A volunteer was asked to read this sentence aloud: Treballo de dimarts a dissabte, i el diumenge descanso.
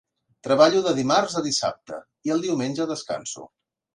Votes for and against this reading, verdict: 2, 0, accepted